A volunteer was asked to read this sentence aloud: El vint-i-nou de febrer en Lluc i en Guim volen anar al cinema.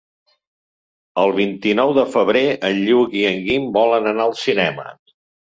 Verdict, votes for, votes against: accepted, 3, 0